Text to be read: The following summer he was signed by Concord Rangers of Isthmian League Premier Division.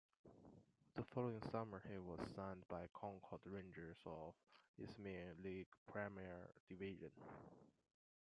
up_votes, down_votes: 0, 2